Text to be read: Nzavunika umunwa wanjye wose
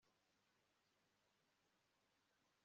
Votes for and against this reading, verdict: 0, 2, rejected